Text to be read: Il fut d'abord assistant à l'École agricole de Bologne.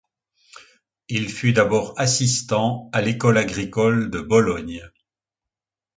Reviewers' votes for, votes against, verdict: 2, 0, accepted